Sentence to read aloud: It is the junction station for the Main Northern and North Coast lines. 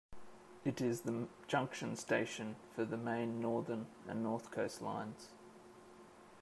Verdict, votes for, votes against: accepted, 2, 0